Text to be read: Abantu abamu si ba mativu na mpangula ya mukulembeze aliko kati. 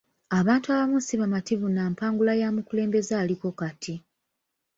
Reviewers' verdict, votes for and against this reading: rejected, 1, 2